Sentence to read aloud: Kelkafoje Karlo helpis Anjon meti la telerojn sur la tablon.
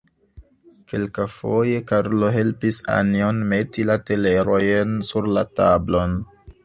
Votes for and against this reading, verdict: 0, 2, rejected